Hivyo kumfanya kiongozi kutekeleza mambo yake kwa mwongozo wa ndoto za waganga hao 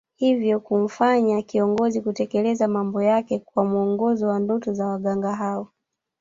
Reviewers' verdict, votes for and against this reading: rejected, 1, 2